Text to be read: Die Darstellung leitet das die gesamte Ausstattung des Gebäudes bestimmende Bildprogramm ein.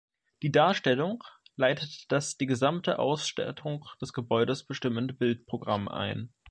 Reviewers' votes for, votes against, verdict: 2, 1, accepted